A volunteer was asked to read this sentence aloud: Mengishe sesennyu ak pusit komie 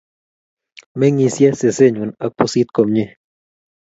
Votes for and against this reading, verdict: 2, 0, accepted